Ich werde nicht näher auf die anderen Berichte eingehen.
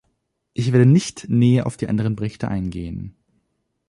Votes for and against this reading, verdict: 2, 0, accepted